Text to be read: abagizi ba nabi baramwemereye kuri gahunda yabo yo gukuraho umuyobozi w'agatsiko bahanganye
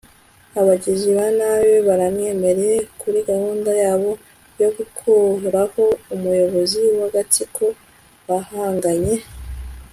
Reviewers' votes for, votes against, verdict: 3, 0, accepted